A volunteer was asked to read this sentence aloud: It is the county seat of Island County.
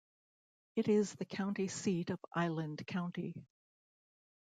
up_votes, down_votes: 2, 0